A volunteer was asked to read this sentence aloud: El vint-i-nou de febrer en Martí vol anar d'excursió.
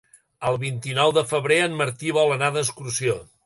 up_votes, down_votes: 3, 0